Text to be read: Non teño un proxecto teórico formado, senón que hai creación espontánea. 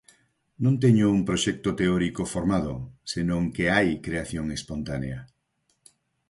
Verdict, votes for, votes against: accepted, 4, 0